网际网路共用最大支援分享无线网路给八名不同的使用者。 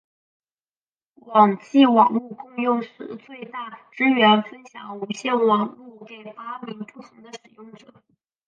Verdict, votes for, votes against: rejected, 2, 3